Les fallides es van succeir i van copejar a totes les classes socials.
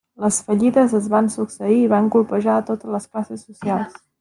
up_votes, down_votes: 0, 2